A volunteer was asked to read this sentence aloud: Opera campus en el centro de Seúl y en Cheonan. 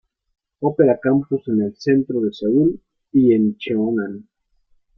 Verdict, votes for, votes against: rejected, 0, 2